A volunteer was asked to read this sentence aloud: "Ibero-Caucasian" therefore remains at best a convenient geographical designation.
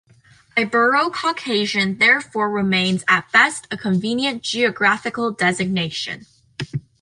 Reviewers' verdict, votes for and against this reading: accepted, 3, 0